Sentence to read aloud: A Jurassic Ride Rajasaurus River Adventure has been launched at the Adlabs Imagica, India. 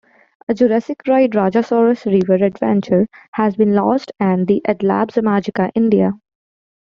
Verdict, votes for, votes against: accepted, 2, 1